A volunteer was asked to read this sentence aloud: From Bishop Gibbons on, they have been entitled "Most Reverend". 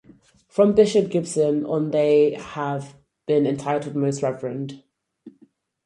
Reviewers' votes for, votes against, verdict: 0, 4, rejected